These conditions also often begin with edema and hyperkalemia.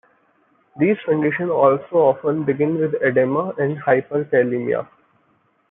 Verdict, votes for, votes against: rejected, 1, 2